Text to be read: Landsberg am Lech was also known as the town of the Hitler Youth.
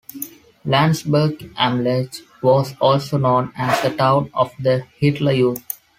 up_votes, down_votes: 2, 0